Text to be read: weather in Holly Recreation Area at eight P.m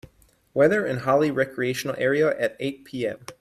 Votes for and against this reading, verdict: 1, 3, rejected